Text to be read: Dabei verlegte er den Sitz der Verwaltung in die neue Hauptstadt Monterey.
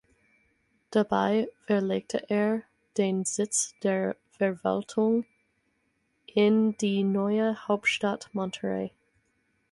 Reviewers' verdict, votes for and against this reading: accepted, 4, 0